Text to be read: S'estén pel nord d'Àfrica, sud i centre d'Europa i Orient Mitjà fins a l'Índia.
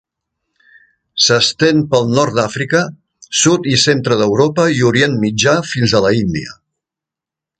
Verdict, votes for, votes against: rejected, 0, 2